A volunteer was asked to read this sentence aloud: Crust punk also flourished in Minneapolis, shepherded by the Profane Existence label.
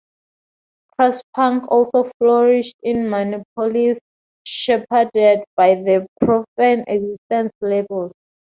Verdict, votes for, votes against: rejected, 0, 2